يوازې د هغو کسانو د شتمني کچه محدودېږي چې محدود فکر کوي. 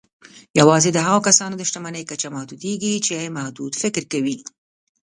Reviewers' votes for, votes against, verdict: 3, 2, accepted